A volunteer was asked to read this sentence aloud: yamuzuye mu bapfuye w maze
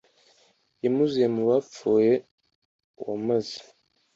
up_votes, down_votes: 2, 0